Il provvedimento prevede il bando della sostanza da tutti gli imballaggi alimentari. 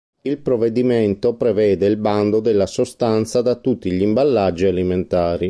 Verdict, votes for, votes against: accepted, 2, 0